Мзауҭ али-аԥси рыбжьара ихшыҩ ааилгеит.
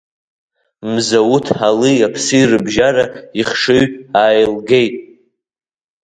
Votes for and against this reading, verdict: 3, 0, accepted